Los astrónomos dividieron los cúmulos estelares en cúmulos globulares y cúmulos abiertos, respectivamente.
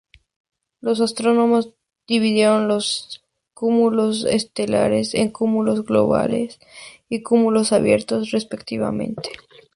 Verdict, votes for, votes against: rejected, 2, 4